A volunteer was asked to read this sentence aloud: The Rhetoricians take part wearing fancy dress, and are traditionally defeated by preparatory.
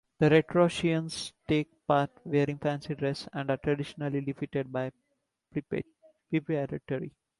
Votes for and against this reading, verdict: 1, 2, rejected